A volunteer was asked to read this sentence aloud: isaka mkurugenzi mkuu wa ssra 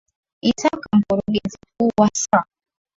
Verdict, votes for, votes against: rejected, 3, 4